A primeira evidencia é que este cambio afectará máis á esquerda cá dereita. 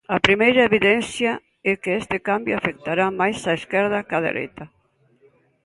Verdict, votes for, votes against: accepted, 2, 0